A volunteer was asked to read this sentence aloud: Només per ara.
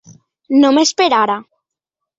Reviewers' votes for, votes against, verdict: 2, 0, accepted